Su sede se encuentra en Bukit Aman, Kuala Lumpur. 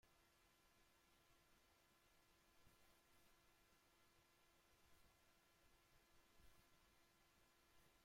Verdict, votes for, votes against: rejected, 0, 2